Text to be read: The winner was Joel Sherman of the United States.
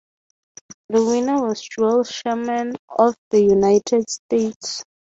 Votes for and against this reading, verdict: 3, 0, accepted